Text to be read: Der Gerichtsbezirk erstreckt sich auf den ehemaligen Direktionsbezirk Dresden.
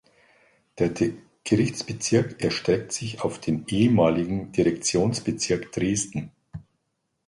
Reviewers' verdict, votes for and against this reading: rejected, 1, 2